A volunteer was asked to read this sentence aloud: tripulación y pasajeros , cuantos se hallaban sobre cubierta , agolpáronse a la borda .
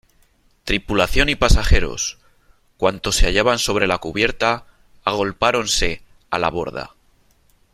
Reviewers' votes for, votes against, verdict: 1, 3, rejected